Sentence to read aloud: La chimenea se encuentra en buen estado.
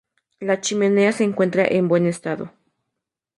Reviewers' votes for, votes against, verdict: 2, 0, accepted